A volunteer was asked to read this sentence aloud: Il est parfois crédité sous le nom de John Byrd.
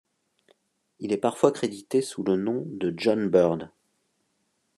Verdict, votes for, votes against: accepted, 2, 1